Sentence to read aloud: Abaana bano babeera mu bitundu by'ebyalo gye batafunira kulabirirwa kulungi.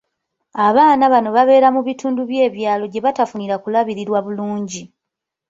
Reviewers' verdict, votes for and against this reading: rejected, 1, 2